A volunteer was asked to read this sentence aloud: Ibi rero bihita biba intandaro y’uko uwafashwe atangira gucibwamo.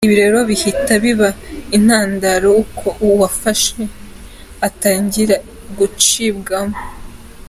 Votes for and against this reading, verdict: 2, 1, accepted